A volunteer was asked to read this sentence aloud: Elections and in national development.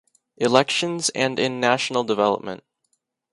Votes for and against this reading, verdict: 2, 0, accepted